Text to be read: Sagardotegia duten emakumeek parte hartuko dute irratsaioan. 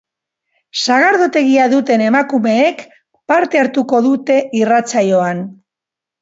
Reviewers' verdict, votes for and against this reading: accepted, 2, 0